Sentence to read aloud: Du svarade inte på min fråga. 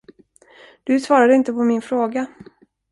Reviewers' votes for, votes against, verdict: 2, 0, accepted